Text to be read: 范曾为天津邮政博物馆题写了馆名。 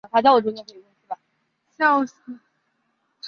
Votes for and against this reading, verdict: 1, 5, rejected